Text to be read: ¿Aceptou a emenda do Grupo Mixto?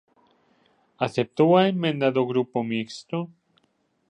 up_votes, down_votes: 1, 2